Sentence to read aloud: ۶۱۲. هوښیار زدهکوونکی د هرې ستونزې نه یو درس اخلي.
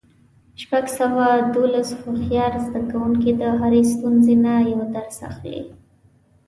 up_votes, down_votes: 0, 2